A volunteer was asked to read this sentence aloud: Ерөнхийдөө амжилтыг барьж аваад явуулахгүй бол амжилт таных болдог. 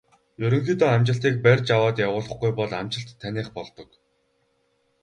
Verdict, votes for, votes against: rejected, 0, 2